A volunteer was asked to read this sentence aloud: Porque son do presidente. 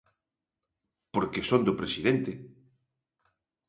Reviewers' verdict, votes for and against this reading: accepted, 2, 0